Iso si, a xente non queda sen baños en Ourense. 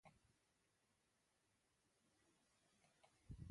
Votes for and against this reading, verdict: 0, 2, rejected